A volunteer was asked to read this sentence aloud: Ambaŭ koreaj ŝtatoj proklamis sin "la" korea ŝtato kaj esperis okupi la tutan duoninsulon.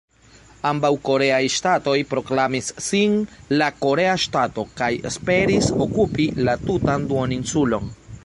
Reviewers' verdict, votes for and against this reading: rejected, 0, 2